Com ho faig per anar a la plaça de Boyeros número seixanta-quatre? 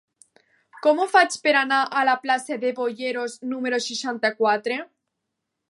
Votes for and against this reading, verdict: 2, 0, accepted